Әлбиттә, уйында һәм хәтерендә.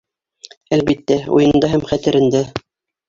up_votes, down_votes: 2, 0